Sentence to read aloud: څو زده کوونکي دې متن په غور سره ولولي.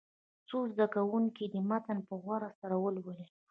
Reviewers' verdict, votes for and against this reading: rejected, 1, 2